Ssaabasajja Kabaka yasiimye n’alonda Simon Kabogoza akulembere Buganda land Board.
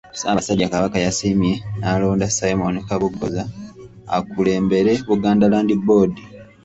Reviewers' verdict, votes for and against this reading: accepted, 3, 0